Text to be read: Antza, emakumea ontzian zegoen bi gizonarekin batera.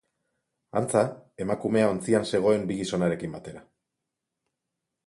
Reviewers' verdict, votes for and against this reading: accepted, 2, 0